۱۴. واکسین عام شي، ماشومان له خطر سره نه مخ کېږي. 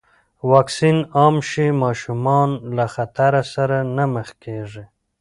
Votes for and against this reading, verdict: 0, 2, rejected